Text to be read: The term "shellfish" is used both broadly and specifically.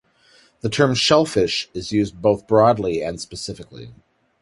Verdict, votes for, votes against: accepted, 2, 0